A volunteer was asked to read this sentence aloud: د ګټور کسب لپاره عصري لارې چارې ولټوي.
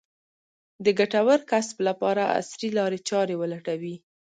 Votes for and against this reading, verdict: 2, 0, accepted